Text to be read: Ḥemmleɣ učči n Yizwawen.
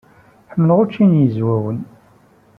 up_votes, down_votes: 3, 0